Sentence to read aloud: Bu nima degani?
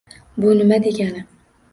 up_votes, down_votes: 2, 0